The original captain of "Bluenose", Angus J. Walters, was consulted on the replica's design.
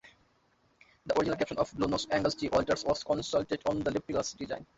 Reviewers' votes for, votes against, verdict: 0, 2, rejected